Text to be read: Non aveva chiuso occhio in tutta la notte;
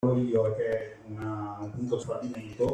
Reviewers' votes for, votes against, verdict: 0, 2, rejected